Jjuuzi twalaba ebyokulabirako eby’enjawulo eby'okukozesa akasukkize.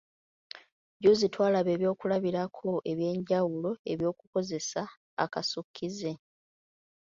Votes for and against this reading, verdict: 2, 0, accepted